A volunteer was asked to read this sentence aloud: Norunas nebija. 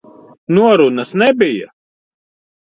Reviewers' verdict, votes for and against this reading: accepted, 2, 0